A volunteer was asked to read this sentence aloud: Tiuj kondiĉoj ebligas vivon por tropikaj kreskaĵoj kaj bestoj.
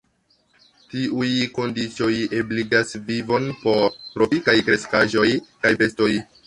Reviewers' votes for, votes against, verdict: 2, 0, accepted